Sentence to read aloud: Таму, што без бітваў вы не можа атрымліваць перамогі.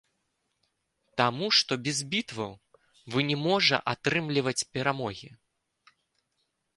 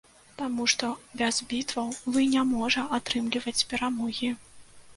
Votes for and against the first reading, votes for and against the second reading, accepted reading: 2, 0, 1, 2, first